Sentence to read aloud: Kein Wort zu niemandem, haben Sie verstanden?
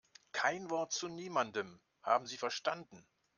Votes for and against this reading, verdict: 2, 0, accepted